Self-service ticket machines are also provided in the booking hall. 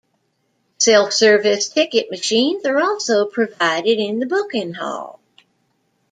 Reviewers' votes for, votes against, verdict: 2, 0, accepted